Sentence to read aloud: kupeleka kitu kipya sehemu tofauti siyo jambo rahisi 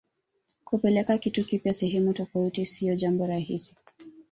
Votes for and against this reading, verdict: 1, 2, rejected